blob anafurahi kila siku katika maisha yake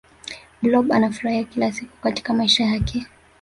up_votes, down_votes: 0, 2